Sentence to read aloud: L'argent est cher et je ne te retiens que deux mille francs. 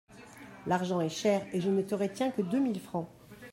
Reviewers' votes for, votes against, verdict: 0, 2, rejected